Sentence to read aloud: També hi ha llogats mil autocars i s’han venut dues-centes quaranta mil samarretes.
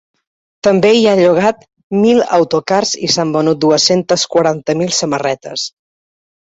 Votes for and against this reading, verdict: 1, 2, rejected